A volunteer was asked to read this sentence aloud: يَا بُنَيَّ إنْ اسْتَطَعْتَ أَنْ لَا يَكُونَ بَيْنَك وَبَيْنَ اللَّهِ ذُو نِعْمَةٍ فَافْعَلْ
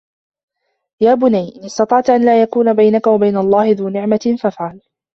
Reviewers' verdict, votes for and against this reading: rejected, 1, 2